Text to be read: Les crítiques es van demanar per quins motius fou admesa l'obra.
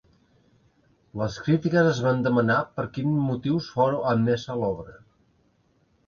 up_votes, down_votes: 1, 2